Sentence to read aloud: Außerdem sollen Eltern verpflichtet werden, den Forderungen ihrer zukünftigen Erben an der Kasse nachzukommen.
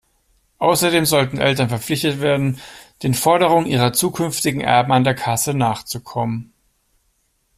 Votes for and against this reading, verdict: 1, 2, rejected